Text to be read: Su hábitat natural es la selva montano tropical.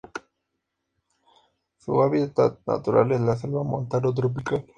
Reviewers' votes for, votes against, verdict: 2, 0, accepted